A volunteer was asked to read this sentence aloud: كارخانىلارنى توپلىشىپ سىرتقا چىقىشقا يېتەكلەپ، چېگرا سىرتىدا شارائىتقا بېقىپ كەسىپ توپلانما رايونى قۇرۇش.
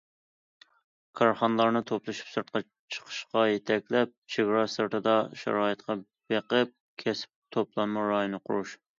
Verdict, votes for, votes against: accepted, 2, 0